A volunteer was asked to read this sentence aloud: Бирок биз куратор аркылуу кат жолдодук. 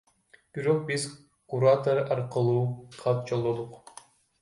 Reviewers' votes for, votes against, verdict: 0, 2, rejected